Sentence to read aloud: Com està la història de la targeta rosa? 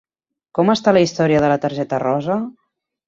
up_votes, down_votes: 3, 0